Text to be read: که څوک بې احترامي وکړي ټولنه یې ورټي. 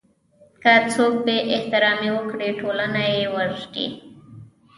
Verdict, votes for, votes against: rejected, 1, 2